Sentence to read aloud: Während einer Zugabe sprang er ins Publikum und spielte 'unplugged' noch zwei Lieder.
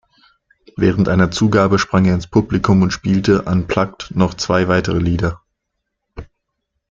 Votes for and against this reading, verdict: 0, 2, rejected